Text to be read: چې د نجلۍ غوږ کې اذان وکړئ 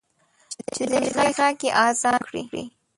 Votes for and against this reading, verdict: 1, 2, rejected